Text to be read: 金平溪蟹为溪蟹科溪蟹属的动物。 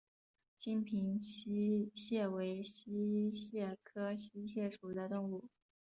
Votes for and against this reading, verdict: 2, 0, accepted